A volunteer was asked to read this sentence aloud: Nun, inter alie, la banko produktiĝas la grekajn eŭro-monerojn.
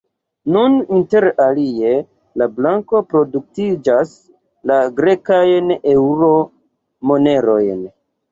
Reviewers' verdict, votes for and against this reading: rejected, 0, 2